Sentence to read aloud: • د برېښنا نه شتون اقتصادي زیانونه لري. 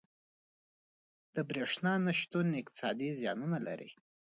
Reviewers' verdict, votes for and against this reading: accepted, 2, 1